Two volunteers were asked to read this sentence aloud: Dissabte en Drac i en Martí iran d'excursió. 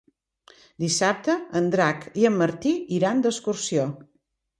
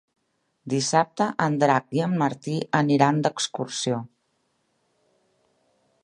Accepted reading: first